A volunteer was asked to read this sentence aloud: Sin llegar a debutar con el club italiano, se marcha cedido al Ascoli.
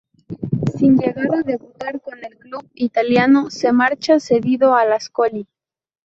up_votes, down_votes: 2, 2